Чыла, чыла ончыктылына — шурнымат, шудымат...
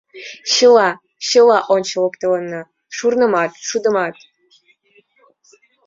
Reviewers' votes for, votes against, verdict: 0, 2, rejected